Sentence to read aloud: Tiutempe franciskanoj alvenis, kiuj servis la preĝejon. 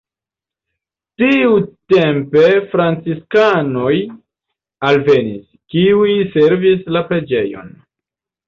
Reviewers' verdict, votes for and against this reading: rejected, 1, 2